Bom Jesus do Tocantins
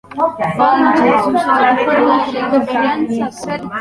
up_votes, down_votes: 0, 2